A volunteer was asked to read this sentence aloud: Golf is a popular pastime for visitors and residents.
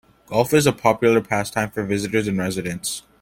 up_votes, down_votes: 2, 0